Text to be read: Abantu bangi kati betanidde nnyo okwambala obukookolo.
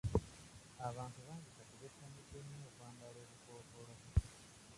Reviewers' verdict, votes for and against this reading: rejected, 0, 2